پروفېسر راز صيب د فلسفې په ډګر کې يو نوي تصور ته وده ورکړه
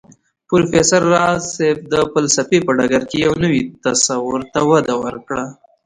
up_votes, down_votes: 2, 0